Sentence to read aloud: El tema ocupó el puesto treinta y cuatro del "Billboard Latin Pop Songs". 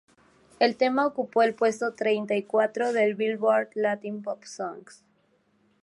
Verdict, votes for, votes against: accepted, 2, 0